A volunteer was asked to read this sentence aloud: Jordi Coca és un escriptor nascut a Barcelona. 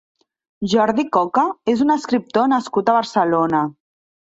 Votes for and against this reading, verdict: 3, 0, accepted